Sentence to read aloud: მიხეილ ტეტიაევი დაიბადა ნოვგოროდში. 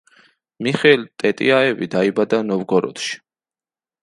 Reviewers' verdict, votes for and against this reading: accepted, 2, 0